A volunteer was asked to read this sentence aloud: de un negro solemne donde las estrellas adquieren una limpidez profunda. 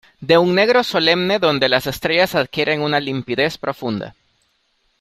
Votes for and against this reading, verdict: 2, 0, accepted